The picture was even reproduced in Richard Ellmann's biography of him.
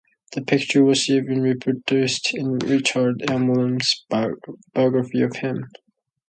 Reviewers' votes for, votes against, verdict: 0, 2, rejected